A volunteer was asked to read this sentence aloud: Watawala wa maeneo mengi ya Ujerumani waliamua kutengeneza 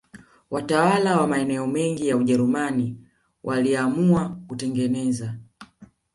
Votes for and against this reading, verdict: 1, 2, rejected